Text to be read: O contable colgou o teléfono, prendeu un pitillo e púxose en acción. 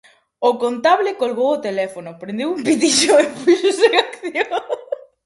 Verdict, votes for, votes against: rejected, 0, 4